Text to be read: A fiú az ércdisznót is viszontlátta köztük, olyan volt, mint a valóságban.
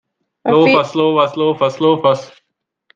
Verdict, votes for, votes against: rejected, 0, 2